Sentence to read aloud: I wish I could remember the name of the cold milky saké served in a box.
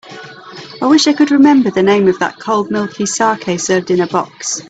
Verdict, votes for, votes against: accepted, 3, 0